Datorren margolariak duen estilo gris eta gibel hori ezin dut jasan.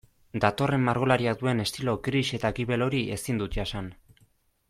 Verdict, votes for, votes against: accepted, 2, 0